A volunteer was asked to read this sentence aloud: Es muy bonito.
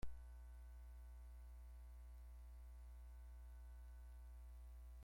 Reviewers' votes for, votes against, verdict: 0, 2, rejected